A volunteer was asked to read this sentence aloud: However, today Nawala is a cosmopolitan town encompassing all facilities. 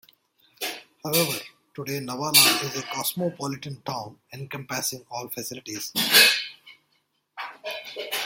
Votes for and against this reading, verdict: 1, 2, rejected